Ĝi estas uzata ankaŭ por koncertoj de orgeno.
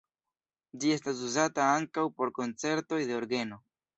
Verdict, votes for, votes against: accepted, 2, 0